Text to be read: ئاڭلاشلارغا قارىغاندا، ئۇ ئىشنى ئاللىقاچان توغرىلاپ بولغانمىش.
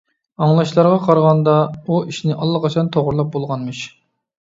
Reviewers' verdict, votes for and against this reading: accepted, 2, 0